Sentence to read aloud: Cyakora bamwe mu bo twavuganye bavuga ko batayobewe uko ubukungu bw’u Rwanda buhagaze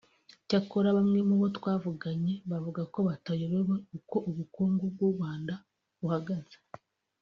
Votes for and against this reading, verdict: 2, 0, accepted